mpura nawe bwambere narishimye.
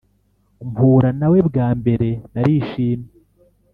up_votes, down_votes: 3, 0